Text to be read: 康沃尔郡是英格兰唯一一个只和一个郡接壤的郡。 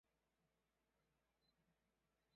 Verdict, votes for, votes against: rejected, 0, 3